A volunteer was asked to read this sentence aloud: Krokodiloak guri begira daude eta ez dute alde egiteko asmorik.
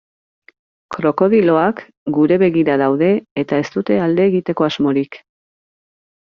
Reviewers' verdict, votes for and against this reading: rejected, 1, 2